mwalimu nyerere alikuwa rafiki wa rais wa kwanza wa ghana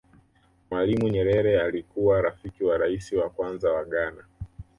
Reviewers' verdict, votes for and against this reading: accepted, 2, 0